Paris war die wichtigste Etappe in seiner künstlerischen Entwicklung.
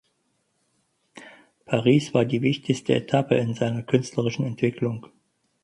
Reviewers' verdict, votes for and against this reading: accepted, 4, 0